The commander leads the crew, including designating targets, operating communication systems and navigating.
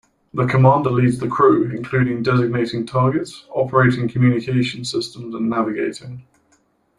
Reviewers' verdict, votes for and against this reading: accepted, 2, 0